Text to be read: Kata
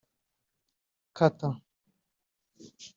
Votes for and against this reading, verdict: 1, 2, rejected